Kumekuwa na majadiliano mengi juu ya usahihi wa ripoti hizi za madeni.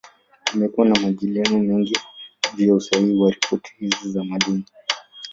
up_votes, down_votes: 0, 2